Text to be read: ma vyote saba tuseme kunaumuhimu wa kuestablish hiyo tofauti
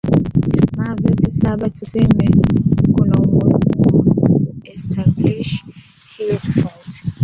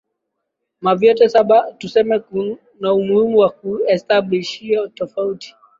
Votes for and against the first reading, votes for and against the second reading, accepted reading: 1, 2, 2, 0, second